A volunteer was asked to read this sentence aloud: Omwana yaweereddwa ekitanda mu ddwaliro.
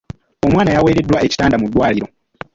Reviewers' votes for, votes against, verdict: 0, 2, rejected